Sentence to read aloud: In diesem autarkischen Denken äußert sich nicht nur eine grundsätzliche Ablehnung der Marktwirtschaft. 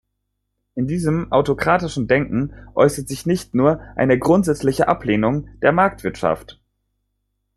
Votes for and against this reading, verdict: 0, 2, rejected